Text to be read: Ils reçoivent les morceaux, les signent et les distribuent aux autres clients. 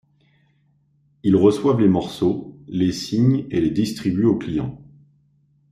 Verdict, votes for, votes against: rejected, 1, 2